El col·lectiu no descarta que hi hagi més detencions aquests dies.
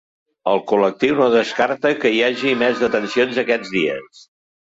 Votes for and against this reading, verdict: 0, 2, rejected